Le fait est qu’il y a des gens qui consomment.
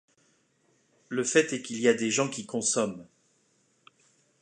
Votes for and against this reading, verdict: 2, 0, accepted